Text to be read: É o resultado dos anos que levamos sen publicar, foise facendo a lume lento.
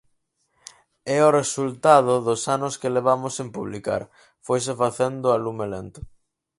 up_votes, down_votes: 4, 0